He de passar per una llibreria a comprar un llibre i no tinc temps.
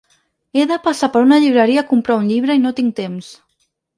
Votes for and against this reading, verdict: 4, 0, accepted